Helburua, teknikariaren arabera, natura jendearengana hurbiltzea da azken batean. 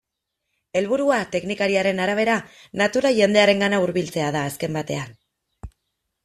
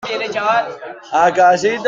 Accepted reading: first